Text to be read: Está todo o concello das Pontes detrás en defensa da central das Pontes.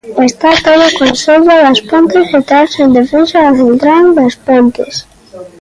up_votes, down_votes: 2, 0